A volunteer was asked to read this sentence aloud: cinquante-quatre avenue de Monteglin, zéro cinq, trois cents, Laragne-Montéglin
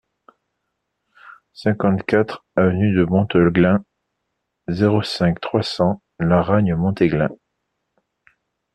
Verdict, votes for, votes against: accepted, 2, 0